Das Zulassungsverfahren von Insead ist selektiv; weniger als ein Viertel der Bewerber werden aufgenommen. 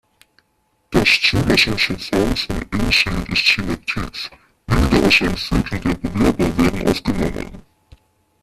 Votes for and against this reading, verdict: 0, 2, rejected